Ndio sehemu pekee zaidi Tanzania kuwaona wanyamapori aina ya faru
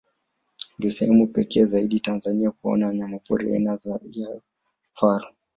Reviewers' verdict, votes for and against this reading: accepted, 2, 0